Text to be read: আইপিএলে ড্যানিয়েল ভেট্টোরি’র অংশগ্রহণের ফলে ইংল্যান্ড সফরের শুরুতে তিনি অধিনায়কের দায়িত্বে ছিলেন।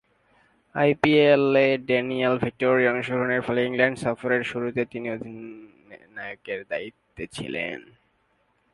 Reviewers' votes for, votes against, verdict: 0, 3, rejected